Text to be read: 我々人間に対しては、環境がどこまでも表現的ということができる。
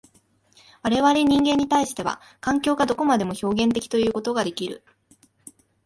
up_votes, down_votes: 2, 0